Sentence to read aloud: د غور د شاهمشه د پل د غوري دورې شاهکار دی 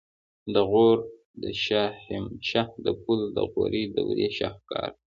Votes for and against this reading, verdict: 2, 1, accepted